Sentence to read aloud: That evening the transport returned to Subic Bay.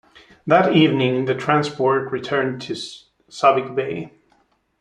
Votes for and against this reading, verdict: 1, 2, rejected